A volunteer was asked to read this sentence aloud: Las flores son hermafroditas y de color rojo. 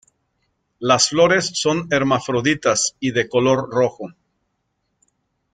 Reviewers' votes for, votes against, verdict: 2, 0, accepted